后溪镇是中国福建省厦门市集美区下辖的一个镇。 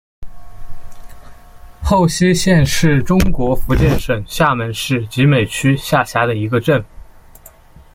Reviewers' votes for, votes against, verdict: 0, 2, rejected